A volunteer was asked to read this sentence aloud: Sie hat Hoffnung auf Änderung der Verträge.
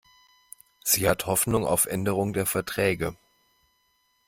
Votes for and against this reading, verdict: 2, 0, accepted